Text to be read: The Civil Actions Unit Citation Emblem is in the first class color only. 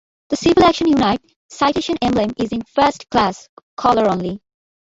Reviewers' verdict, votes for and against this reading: rejected, 0, 2